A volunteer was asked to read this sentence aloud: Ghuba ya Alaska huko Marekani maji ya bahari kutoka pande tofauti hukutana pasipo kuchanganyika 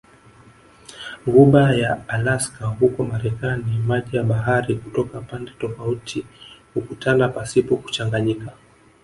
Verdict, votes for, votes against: accepted, 6, 0